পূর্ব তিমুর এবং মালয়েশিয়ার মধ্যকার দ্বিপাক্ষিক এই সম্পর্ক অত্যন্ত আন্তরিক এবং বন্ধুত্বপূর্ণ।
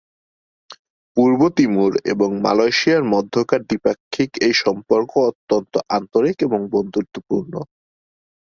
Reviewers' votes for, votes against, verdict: 6, 1, accepted